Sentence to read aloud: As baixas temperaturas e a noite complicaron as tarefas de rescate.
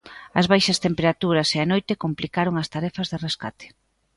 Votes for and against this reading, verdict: 2, 0, accepted